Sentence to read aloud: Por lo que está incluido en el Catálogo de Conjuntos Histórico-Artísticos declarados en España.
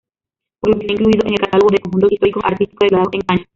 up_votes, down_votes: 0, 2